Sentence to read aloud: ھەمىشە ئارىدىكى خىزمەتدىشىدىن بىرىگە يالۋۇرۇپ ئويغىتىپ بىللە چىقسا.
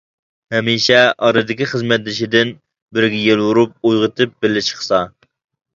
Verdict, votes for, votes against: rejected, 0, 2